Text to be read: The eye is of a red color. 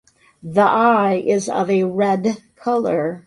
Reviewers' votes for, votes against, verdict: 2, 0, accepted